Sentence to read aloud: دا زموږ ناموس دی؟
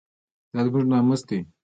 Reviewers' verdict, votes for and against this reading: accepted, 2, 1